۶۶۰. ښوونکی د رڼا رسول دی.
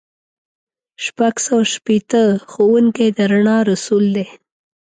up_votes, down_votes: 0, 2